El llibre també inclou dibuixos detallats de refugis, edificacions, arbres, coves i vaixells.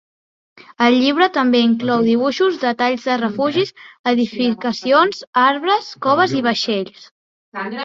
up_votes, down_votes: 0, 2